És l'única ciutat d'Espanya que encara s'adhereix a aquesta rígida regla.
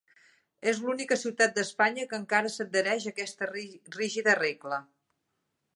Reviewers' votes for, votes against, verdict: 0, 2, rejected